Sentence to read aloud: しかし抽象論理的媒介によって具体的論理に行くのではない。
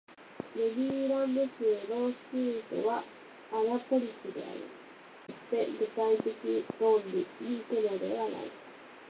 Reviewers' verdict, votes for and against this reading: rejected, 2, 4